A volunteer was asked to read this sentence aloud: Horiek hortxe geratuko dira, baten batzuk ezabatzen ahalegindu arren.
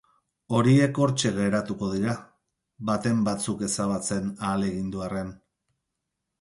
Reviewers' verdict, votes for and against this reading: accepted, 4, 2